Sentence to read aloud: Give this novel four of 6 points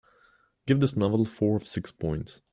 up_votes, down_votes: 0, 2